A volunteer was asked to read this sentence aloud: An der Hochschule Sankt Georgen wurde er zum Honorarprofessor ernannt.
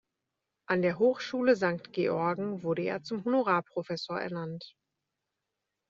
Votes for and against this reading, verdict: 2, 0, accepted